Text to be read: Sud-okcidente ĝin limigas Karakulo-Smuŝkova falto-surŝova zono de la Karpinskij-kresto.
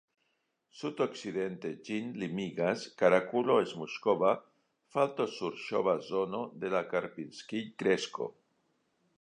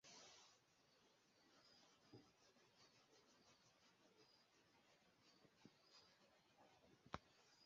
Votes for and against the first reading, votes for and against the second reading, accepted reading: 2, 1, 0, 2, first